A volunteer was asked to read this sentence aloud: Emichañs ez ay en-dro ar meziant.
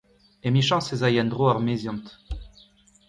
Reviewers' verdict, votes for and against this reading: accepted, 2, 1